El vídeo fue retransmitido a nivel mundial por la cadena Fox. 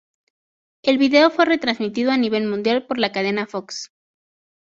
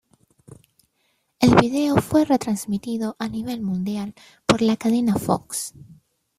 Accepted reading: first